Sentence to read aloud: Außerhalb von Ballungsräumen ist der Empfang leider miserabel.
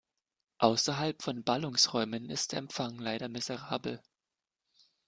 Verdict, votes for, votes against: accepted, 3, 0